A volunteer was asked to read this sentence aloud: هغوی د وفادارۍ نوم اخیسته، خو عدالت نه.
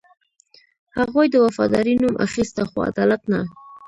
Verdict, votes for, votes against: rejected, 0, 2